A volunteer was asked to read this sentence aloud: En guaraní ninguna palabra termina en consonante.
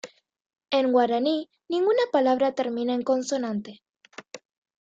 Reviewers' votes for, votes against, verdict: 2, 0, accepted